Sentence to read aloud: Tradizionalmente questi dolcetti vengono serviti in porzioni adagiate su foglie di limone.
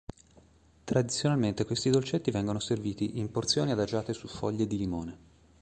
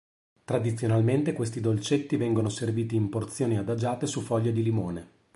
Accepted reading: second